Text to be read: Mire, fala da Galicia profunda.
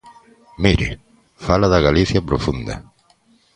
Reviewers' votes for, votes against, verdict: 2, 0, accepted